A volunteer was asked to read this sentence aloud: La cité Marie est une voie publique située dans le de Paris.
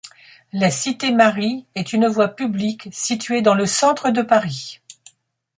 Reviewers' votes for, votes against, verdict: 1, 2, rejected